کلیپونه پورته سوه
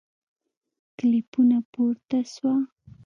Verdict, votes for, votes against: accepted, 2, 0